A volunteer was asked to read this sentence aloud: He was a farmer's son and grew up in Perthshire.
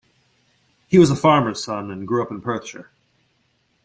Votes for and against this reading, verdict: 2, 1, accepted